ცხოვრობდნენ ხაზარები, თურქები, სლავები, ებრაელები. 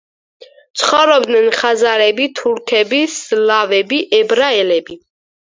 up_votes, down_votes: 2, 4